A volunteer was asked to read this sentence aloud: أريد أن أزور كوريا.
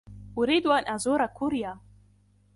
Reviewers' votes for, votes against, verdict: 2, 0, accepted